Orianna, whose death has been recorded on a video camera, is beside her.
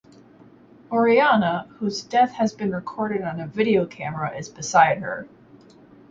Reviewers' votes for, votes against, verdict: 2, 0, accepted